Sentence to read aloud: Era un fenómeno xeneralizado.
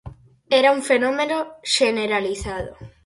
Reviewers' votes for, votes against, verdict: 4, 0, accepted